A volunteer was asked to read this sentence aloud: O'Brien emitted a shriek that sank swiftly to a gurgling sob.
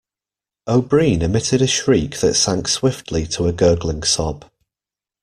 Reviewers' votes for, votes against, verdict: 2, 0, accepted